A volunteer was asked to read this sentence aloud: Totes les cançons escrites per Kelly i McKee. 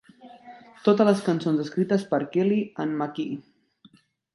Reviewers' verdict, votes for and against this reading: rejected, 0, 2